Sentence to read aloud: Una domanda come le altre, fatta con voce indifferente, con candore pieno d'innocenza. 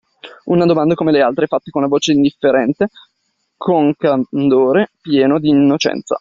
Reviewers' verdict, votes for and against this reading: rejected, 1, 2